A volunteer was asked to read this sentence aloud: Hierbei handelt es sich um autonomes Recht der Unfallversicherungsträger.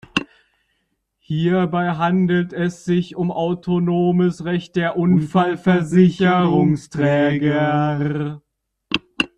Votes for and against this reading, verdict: 1, 2, rejected